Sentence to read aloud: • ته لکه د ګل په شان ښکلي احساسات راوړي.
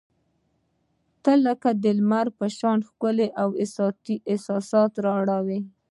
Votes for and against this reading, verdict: 0, 2, rejected